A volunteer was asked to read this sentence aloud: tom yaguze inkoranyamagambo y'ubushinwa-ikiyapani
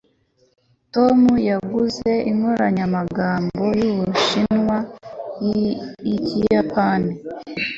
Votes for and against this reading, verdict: 2, 0, accepted